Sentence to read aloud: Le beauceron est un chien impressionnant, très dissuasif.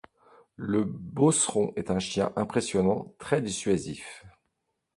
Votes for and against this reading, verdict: 2, 0, accepted